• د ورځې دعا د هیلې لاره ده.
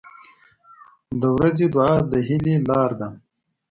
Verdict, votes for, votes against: accepted, 2, 0